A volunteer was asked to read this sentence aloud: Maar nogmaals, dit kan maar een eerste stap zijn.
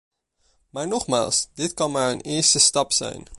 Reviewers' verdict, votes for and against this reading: accepted, 2, 0